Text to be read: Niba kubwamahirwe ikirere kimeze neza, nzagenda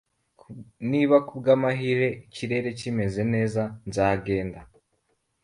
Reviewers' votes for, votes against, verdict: 2, 0, accepted